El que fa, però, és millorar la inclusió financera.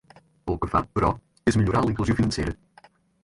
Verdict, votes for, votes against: rejected, 0, 4